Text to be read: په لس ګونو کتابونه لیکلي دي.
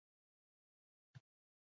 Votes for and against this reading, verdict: 1, 2, rejected